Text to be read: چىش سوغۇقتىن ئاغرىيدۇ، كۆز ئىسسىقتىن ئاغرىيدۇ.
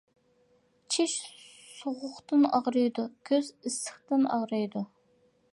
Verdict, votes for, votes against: accepted, 2, 0